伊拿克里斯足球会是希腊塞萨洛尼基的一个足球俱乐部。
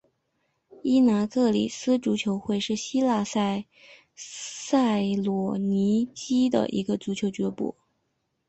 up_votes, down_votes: 2, 0